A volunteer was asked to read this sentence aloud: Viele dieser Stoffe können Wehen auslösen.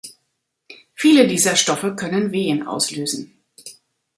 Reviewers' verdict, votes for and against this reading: accepted, 3, 0